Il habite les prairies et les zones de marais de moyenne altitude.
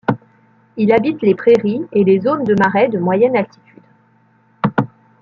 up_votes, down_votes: 2, 1